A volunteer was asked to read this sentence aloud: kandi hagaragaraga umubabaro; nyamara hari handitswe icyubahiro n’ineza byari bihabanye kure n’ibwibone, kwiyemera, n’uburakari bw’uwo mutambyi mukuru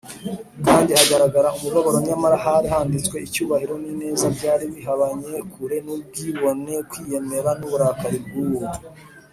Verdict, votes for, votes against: rejected, 0, 2